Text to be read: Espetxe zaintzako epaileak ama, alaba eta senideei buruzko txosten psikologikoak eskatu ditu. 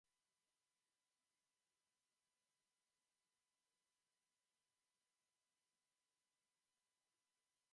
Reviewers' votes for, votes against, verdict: 0, 2, rejected